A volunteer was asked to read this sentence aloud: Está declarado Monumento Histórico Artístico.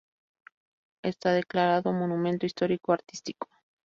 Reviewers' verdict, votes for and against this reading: accepted, 2, 0